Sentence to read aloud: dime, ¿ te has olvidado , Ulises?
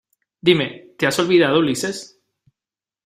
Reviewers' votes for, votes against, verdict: 2, 0, accepted